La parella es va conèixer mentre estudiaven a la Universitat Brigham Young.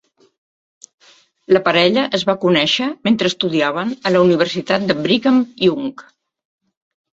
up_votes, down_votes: 0, 2